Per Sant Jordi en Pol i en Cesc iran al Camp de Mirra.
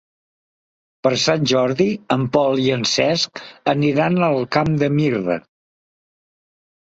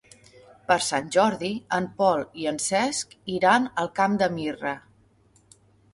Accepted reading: second